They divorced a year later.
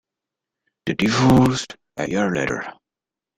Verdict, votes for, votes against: rejected, 1, 2